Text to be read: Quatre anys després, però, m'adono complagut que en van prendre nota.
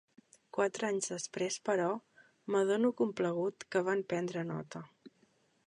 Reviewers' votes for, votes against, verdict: 0, 2, rejected